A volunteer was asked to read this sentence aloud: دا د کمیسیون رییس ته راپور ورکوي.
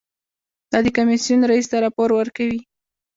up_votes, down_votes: 1, 2